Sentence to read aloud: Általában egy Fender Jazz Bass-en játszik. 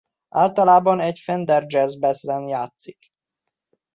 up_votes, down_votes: 2, 1